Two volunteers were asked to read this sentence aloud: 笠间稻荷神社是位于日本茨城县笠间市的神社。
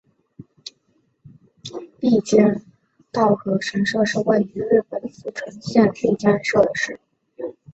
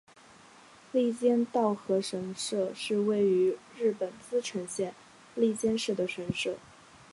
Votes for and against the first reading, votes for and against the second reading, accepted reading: 1, 3, 3, 2, second